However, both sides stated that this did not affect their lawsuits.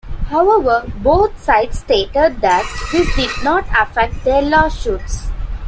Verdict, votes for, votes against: accepted, 2, 0